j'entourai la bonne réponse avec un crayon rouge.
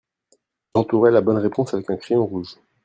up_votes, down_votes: 1, 2